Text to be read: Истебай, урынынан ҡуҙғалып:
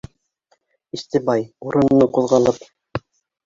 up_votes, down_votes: 1, 2